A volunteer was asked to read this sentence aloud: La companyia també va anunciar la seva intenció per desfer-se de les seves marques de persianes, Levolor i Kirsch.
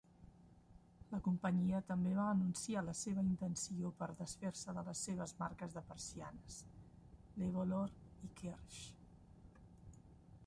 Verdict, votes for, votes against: rejected, 0, 2